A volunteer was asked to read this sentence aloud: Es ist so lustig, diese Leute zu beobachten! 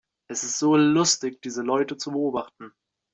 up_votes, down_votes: 2, 0